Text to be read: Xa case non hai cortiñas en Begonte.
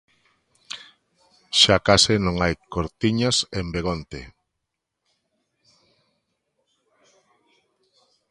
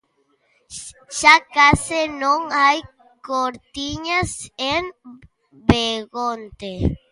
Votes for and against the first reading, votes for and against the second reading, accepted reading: 2, 0, 0, 2, first